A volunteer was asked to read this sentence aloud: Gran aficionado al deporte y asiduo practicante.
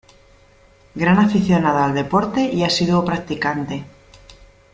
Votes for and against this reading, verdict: 2, 0, accepted